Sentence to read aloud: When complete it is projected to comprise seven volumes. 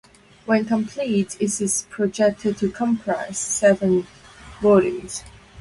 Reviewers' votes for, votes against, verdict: 0, 2, rejected